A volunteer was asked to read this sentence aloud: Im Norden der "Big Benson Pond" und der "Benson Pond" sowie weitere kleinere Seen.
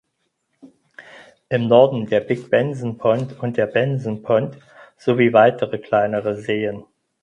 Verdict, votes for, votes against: accepted, 4, 0